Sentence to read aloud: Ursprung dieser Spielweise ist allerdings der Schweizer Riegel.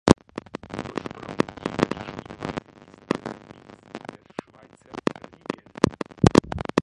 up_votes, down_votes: 0, 2